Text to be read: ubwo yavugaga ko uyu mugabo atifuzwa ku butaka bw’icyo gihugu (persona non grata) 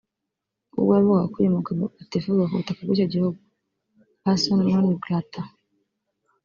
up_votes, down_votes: 0, 2